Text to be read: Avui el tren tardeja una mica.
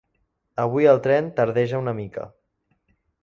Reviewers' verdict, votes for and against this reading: accepted, 3, 0